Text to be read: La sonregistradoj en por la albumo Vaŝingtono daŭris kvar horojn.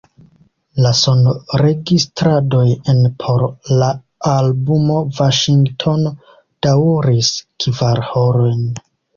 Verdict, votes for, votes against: accepted, 2, 0